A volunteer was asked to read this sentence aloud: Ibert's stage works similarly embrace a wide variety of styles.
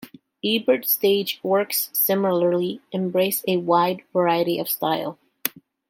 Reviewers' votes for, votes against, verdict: 1, 2, rejected